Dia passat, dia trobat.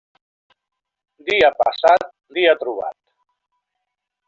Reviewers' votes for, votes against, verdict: 2, 0, accepted